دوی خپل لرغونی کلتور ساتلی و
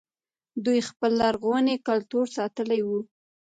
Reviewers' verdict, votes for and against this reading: accepted, 2, 0